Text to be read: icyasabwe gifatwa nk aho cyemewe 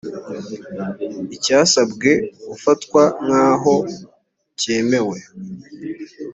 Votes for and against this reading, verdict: 1, 2, rejected